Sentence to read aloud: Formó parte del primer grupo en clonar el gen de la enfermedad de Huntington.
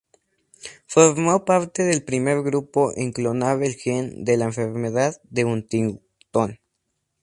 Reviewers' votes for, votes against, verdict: 2, 0, accepted